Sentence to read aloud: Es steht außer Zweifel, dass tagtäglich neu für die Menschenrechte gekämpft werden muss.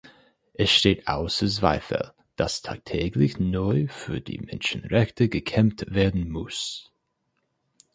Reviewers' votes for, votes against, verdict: 0, 4, rejected